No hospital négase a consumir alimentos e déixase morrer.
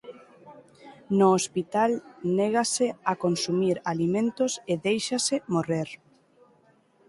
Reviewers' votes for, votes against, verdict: 2, 0, accepted